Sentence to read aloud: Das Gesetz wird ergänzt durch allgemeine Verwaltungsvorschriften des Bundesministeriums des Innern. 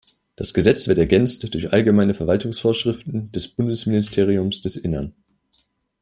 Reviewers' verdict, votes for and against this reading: rejected, 0, 2